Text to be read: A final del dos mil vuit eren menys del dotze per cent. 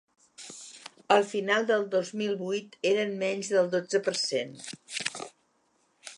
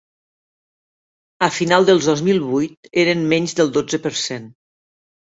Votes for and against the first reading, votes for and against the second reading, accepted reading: 3, 2, 1, 2, first